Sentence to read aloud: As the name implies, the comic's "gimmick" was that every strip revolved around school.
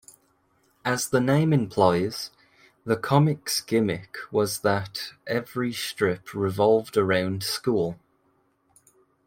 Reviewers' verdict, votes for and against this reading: rejected, 1, 2